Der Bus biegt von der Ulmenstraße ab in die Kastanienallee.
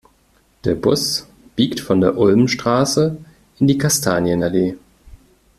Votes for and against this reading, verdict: 0, 2, rejected